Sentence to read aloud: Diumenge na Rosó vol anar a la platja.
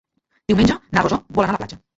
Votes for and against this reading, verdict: 2, 1, accepted